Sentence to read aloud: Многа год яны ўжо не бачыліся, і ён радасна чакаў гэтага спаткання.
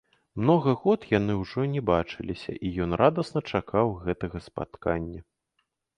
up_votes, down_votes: 2, 1